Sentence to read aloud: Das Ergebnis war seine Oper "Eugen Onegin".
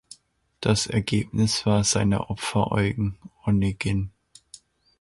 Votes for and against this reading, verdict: 0, 2, rejected